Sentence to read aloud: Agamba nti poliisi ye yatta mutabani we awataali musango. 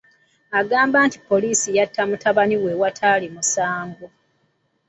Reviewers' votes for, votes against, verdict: 1, 2, rejected